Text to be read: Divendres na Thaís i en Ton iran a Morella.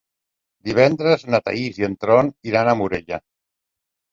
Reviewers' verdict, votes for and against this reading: rejected, 1, 2